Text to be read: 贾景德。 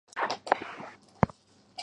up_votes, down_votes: 0, 4